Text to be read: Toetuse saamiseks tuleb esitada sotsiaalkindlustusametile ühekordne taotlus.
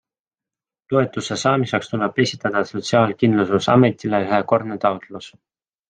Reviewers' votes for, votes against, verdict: 2, 0, accepted